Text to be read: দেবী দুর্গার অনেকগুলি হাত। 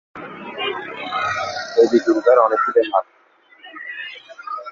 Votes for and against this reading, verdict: 0, 5, rejected